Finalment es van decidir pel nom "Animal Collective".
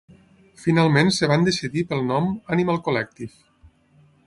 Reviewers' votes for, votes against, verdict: 0, 6, rejected